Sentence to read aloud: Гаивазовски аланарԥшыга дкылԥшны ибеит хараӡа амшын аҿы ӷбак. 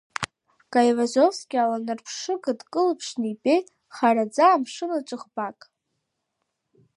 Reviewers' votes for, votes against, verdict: 2, 0, accepted